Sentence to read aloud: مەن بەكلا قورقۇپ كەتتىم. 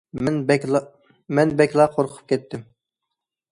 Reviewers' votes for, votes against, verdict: 0, 2, rejected